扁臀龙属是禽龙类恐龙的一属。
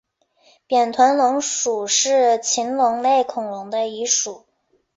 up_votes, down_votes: 4, 0